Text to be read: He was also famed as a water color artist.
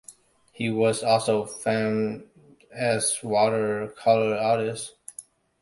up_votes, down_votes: 0, 2